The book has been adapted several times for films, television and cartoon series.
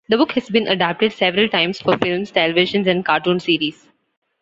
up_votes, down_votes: 2, 0